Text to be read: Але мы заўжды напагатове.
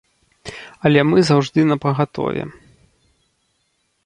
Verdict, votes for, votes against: accepted, 2, 0